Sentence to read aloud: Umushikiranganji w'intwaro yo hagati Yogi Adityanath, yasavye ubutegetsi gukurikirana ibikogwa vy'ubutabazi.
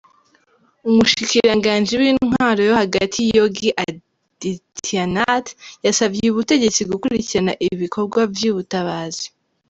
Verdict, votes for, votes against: rejected, 0, 2